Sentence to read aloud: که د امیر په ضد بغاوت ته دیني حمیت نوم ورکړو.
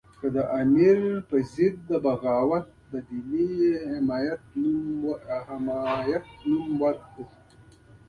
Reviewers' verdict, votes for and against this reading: rejected, 0, 2